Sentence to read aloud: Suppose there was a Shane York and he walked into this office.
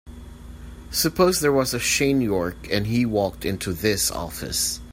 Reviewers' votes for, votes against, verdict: 3, 0, accepted